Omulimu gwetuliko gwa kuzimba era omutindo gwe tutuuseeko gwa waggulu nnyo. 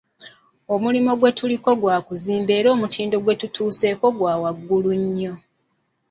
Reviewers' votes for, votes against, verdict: 1, 2, rejected